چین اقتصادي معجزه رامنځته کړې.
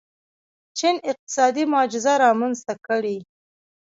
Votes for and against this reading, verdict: 1, 2, rejected